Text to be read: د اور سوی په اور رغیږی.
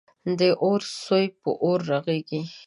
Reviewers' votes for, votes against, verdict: 1, 2, rejected